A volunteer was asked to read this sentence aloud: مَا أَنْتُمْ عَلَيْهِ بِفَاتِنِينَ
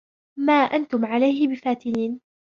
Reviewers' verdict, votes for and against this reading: accepted, 2, 0